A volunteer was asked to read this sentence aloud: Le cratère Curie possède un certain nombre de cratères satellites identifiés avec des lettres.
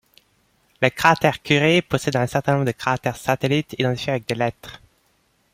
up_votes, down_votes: 2, 0